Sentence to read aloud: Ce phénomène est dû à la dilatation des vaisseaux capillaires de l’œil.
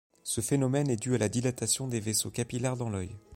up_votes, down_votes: 1, 2